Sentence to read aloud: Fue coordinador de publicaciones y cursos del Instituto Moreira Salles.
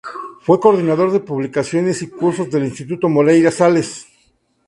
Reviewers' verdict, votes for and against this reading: rejected, 0, 2